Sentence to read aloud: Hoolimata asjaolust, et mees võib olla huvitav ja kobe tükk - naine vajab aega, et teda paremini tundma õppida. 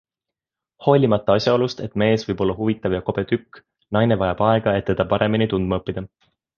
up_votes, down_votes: 2, 0